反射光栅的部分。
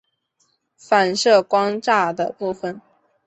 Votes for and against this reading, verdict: 6, 1, accepted